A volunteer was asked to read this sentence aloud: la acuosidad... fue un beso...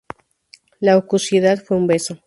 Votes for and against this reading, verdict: 0, 4, rejected